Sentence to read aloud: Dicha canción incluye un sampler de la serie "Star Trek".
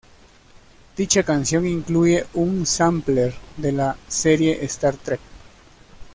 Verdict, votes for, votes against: accepted, 2, 0